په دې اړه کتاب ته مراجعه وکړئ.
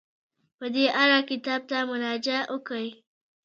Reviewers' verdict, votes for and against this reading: rejected, 1, 2